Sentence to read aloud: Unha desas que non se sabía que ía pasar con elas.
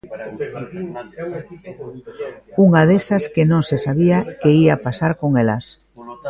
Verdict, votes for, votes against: rejected, 0, 2